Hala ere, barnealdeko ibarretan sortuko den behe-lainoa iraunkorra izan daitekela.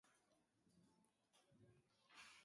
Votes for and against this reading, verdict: 0, 2, rejected